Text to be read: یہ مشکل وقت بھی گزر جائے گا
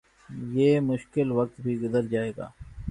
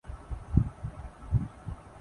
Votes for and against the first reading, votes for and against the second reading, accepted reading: 5, 0, 0, 2, first